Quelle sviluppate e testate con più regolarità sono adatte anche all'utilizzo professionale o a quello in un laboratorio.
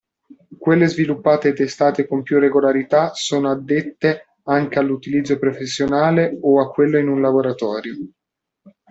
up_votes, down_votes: 0, 2